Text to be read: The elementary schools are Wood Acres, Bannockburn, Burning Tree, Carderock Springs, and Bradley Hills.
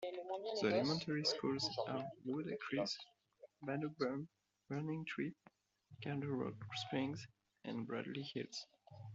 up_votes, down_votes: 1, 2